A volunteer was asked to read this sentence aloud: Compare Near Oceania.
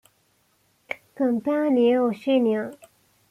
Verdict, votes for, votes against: accepted, 2, 1